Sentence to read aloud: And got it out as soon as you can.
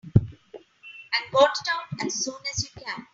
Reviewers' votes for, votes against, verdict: 2, 3, rejected